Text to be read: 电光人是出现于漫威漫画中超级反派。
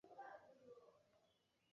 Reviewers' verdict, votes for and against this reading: rejected, 2, 4